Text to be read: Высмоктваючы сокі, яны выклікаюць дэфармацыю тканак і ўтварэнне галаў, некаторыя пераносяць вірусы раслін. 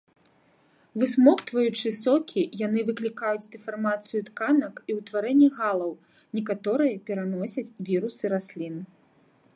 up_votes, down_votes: 2, 1